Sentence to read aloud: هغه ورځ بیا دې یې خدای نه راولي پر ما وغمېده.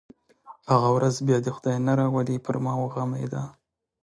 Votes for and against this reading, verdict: 2, 1, accepted